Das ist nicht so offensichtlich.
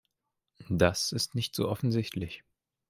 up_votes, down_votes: 2, 0